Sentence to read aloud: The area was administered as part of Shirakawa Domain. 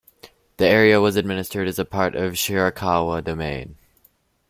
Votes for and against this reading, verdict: 0, 2, rejected